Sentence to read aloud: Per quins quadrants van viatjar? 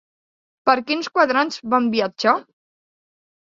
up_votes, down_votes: 2, 0